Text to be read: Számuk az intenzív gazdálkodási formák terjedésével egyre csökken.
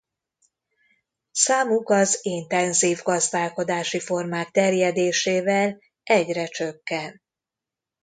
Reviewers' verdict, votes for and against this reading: accepted, 2, 0